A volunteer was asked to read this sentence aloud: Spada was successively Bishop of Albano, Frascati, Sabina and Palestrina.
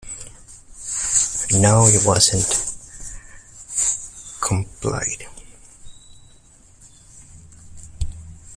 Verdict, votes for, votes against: rejected, 0, 2